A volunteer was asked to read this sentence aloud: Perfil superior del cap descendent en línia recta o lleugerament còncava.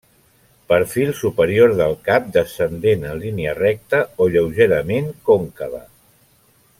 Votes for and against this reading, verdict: 3, 0, accepted